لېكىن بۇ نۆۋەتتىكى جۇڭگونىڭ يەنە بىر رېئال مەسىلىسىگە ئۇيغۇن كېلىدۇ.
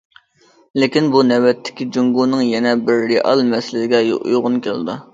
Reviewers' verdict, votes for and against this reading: rejected, 0, 2